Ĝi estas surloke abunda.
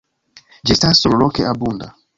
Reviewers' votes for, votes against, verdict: 1, 2, rejected